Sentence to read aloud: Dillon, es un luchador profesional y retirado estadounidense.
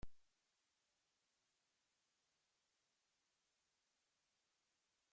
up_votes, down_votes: 0, 2